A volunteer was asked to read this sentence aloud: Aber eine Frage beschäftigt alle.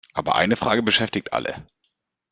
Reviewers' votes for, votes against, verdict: 2, 0, accepted